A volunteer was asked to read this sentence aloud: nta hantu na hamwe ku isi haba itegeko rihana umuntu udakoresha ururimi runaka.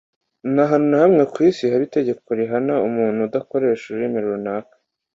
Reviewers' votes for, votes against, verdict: 2, 0, accepted